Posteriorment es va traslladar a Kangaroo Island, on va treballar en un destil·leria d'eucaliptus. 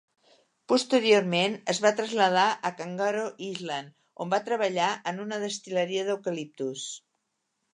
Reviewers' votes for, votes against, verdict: 0, 2, rejected